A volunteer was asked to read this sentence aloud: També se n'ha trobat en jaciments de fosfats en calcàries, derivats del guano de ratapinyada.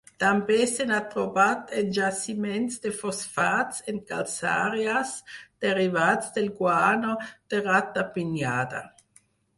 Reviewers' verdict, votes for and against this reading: rejected, 2, 4